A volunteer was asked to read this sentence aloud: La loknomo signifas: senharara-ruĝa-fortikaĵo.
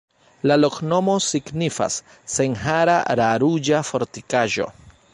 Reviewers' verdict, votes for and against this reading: rejected, 0, 2